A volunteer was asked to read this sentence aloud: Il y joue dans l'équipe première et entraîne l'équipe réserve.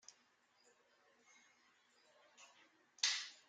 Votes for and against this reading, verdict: 0, 2, rejected